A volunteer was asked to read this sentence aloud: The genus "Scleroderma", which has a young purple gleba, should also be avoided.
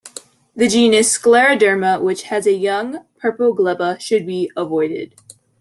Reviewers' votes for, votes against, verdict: 0, 2, rejected